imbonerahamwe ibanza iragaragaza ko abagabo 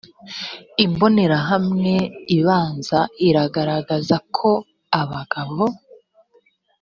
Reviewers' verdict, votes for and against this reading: accepted, 2, 0